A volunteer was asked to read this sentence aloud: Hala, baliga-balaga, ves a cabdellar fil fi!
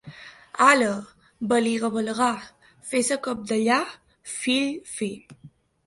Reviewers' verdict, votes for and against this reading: rejected, 2, 3